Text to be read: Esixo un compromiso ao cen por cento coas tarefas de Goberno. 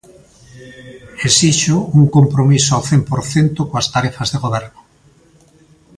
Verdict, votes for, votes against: accepted, 2, 0